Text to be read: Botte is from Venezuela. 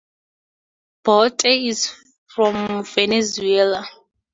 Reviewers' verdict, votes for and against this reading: rejected, 2, 2